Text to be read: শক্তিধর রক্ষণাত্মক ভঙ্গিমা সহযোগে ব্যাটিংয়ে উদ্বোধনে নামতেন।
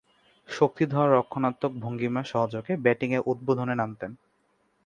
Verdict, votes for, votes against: accepted, 3, 1